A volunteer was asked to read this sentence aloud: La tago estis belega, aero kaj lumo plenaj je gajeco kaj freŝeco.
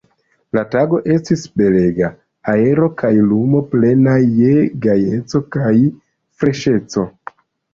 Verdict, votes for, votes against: rejected, 0, 2